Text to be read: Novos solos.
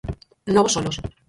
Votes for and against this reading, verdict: 0, 4, rejected